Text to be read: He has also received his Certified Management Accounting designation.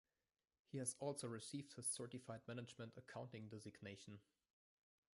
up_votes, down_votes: 2, 0